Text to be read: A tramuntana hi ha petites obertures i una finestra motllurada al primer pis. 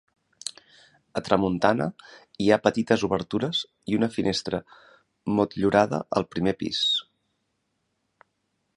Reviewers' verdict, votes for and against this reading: accepted, 5, 1